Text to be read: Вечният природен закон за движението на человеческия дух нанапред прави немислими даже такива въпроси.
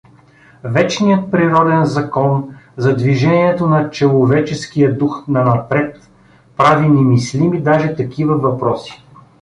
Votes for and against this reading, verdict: 1, 2, rejected